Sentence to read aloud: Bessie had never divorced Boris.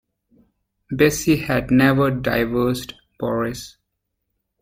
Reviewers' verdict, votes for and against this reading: rejected, 1, 2